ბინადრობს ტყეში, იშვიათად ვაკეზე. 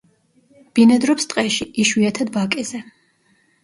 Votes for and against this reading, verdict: 1, 2, rejected